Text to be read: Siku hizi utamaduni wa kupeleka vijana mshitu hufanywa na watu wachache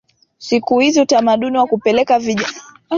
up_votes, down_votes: 0, 2